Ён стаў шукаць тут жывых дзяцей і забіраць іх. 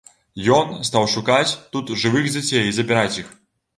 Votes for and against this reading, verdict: 2, 0, accepted